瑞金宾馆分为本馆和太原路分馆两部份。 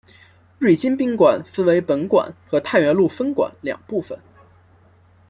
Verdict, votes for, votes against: accepted, 2, 1